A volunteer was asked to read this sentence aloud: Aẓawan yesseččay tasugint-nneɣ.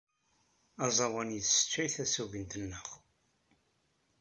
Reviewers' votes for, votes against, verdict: 2, 0, accepted